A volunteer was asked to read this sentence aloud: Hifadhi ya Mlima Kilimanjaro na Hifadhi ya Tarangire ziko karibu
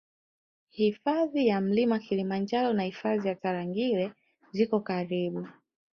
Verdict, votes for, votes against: rejected, 1, 2